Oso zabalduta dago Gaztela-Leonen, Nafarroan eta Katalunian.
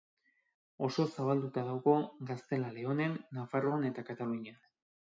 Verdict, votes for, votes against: accepted, 2, 1